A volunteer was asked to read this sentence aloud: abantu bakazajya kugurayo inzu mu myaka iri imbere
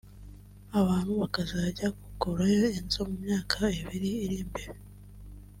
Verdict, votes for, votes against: accepted, 2, 0